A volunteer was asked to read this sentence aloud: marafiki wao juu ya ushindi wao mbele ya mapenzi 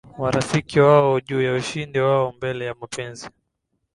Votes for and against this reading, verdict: 2, 0, accepted